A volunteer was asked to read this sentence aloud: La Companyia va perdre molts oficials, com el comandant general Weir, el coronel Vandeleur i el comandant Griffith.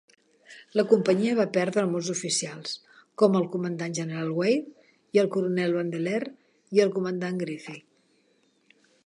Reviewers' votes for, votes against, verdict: 0, 2, rejected